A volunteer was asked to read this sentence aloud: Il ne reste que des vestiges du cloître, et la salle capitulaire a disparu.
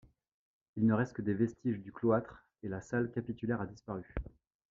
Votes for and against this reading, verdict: 2, 0, accepted